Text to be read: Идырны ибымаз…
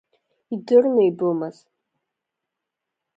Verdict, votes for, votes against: rejected, 0, 2